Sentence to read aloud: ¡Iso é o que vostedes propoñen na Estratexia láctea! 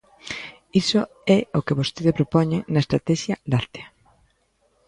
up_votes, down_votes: 0, 2